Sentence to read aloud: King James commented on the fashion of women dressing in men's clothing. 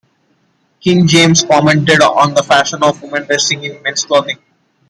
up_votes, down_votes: 2, 1